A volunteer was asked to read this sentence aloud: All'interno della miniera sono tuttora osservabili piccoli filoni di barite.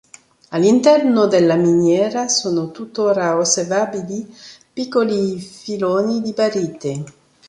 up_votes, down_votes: 2, 0